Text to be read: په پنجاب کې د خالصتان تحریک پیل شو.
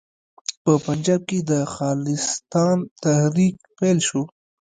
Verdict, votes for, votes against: rejected, 1, 2